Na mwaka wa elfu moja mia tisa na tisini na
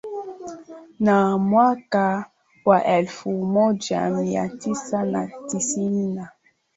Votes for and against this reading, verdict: 5, 3, accepted